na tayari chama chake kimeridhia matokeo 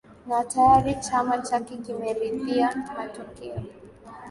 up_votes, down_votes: 1, 2